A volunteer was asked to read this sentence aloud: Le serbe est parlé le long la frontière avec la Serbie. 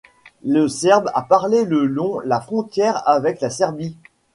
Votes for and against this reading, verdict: 1, 2, rejected